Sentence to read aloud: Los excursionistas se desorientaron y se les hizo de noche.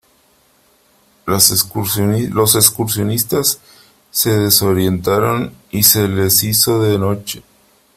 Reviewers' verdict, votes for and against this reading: rejected, 0, 3